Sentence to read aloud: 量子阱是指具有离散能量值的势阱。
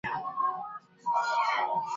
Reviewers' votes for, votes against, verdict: 0, 2, rejected